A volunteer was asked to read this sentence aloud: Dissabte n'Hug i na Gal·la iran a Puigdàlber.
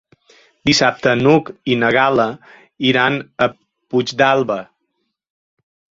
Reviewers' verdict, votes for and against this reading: accepted, 2, 0